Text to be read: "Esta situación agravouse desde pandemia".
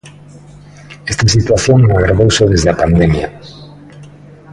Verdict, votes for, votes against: accepted, 2, 0